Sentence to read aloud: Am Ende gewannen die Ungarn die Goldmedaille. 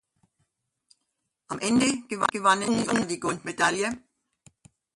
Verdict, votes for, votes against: rejected, 0, 2